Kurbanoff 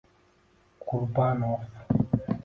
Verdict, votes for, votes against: rejected, 0, 2